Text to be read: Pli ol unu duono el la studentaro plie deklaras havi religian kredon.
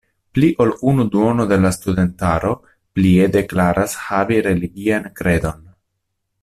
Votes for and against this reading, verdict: 0, 2, rejected